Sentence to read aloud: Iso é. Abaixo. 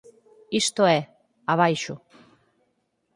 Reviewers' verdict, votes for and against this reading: rejected, 0, 4